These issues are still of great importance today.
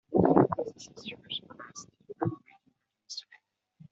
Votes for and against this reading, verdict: 0, 2, rejected